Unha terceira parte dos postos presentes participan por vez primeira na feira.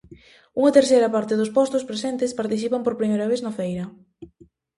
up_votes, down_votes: 0, 2